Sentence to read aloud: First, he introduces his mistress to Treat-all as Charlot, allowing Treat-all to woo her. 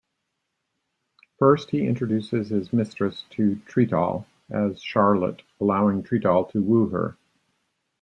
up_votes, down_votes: 0, 2